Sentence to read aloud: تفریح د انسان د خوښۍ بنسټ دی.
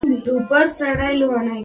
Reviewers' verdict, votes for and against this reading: rejected, 1, 2